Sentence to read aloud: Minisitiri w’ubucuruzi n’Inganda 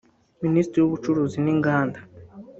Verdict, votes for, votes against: rejected, 1, 2